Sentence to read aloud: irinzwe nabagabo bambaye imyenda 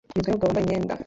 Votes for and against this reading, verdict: 0, 2, rejected